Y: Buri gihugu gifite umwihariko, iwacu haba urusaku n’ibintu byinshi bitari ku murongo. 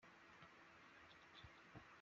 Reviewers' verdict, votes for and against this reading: rejected, 0, 2